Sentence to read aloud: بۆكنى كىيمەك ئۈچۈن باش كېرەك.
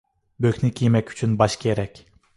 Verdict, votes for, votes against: accepted, 2, 0